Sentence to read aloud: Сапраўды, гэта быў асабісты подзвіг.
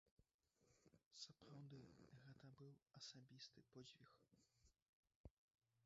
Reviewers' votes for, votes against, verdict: 1, 2, rejected